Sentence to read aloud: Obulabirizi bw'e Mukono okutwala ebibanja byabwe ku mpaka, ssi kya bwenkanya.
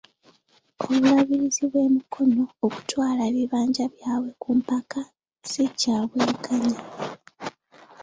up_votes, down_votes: 2, 0